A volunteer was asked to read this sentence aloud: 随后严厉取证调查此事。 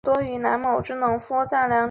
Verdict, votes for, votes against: rejected, 0, 2